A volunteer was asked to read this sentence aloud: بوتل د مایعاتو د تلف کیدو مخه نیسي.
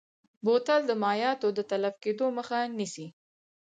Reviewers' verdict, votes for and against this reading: accepted, 4, 2